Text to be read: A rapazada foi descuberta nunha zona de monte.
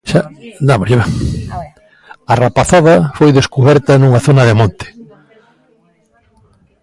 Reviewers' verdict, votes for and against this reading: rejected, 0, 2